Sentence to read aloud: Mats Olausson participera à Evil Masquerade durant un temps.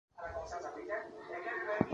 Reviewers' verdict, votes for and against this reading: rejected, 0, 2